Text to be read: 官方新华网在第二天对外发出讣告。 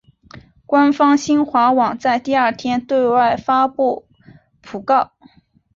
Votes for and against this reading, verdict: 2, 1, accepted